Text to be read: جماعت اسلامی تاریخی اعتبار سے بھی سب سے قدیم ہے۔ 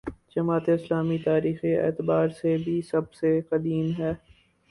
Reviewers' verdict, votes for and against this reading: accepted, 4, 0